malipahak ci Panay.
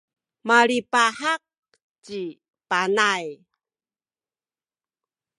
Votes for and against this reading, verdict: 0, 2, rejected